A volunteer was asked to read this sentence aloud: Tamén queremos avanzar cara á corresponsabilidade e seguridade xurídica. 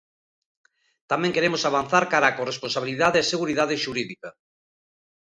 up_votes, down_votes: 2, 0